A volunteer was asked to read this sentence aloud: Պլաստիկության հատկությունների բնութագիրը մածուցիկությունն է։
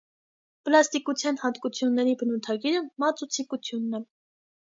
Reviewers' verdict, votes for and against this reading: accepted, 2, 0